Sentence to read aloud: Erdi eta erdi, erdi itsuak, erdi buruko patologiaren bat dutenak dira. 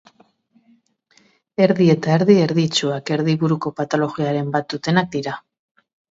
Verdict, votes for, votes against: accepted, 2, 1